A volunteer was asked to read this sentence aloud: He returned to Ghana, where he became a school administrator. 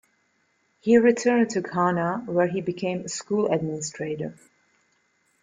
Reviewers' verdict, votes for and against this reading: rejected, 1, 2